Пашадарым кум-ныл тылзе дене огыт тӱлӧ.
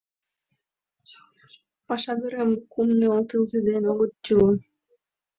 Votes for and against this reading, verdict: 2, 0, accepted